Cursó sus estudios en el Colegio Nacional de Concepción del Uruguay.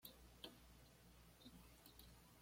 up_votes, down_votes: 1, 2